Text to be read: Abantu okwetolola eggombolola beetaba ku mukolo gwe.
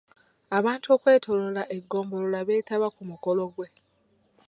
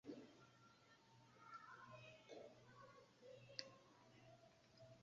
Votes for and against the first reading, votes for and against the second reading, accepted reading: 3, 0, 0, 2, first